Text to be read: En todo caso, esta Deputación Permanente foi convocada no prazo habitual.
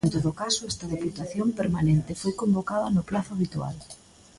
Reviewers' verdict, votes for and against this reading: rejected, 1, 2